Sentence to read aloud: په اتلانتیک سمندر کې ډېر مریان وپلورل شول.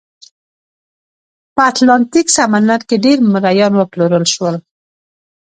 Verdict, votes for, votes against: accepted, 2, 0